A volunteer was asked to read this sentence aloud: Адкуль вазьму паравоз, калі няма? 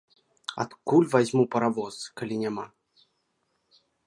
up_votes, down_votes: 2, 0